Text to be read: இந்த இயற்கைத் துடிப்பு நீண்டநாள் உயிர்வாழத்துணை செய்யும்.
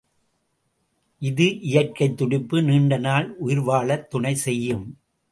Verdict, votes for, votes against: rejected, 0, 2